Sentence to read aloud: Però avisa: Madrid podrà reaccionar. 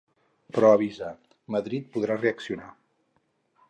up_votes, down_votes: 4, 0